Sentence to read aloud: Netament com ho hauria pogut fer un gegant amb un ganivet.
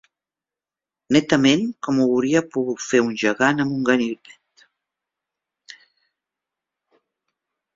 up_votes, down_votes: 0, 3